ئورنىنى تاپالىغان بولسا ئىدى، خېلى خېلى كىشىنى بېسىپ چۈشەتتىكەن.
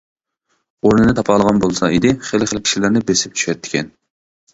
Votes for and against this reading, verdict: 1, 2, rejected